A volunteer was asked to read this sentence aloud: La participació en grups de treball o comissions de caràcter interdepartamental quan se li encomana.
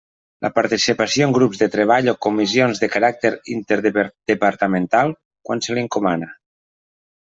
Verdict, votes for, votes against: rejected, 0, 2